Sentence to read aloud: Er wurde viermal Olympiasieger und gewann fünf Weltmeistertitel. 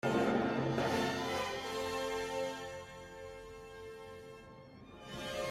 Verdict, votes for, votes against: rejected, 0, 2